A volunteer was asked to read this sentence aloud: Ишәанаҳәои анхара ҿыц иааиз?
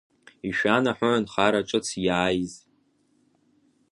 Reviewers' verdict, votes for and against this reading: accepted, 2, 0